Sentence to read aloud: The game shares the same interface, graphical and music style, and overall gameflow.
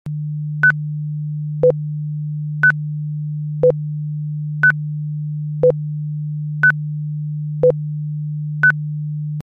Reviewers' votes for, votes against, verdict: 0, 2, rejected